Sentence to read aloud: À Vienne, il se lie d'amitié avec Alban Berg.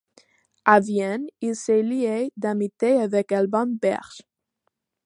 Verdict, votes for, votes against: accepted, 2, 1